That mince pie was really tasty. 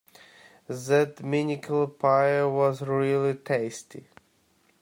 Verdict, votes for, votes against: rejected, 0, 2